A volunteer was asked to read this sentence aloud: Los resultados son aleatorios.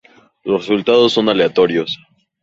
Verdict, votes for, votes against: accepted, 2, 0